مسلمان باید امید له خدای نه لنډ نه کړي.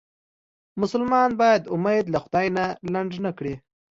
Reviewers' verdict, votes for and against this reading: accepted, 2, 0